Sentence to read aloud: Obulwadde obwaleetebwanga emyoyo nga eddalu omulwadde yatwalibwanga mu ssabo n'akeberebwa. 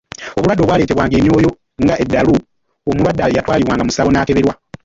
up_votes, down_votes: 0, 2